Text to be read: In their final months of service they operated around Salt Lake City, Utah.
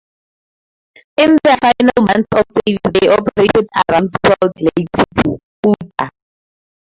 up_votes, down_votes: 4, 2